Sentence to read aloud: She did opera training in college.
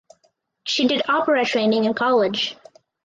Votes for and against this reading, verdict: 2, 2, rejected